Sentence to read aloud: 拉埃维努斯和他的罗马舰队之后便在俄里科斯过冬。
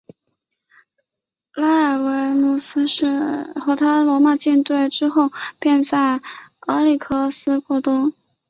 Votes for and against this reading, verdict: 0, 4, rejected